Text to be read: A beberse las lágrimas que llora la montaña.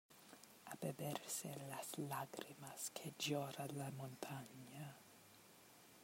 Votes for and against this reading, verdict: 1, 2, rejected